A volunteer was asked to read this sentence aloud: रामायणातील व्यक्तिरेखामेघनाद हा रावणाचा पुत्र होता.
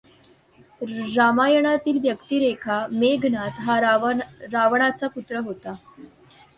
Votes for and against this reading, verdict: 0, 2, rejected